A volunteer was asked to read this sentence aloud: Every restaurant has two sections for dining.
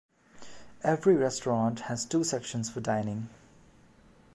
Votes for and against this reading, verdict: 2, 0, accepted